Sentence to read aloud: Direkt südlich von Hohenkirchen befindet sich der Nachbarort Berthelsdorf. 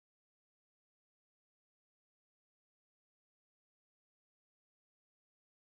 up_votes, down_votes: 0, 2